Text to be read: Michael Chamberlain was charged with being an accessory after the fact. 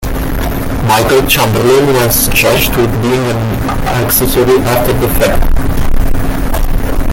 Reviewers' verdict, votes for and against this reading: rejected, 1, 2